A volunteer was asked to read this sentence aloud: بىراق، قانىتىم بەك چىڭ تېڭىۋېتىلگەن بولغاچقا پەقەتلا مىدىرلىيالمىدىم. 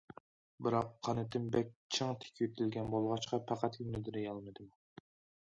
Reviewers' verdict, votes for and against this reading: rejected, 1, 2